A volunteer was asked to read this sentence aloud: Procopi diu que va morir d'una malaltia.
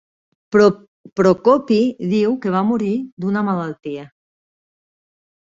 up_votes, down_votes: 0, 2